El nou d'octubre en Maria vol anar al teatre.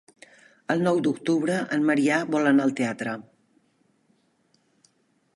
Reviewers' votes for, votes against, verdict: 1, 2, rejected